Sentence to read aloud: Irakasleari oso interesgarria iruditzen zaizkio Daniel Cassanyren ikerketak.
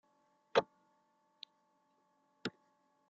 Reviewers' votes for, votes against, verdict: 0, 2, rejected